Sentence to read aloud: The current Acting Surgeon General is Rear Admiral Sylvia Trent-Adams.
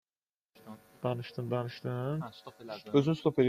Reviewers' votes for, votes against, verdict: 0, 2, rejected